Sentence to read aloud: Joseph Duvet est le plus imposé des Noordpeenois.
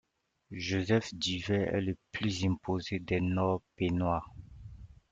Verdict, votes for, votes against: accepted, 2, 0